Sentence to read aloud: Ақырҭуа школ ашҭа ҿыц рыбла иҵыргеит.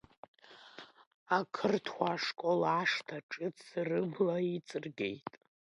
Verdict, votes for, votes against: accepted, 2, 0